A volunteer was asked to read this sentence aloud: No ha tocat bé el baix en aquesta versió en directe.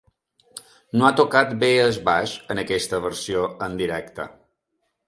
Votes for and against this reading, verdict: 0, 2, rejected